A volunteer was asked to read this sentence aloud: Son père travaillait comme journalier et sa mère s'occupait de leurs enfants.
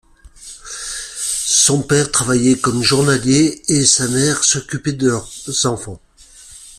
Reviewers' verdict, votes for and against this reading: accepted, 2, 0